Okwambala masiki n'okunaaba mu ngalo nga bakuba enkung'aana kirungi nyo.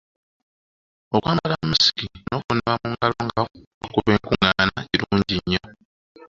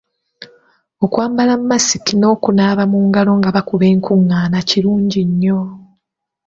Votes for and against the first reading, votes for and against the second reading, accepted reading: 0, 2, 2, 0, second